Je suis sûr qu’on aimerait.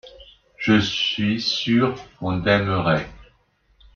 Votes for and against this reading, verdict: 2, 1, accepted